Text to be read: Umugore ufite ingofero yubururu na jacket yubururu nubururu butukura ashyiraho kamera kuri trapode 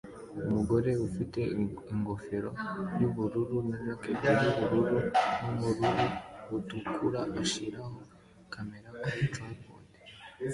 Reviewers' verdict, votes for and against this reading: accepted, 2, 1